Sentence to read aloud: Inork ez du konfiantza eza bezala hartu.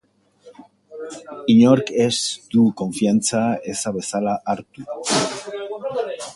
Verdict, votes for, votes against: rejected, 0, 2